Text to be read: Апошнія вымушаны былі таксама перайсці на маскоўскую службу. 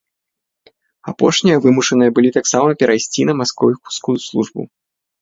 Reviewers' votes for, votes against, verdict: 0, 3, rejected